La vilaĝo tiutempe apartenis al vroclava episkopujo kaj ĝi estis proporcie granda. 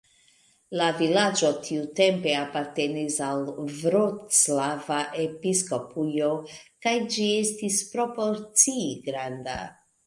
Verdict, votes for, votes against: accepted, 2, 0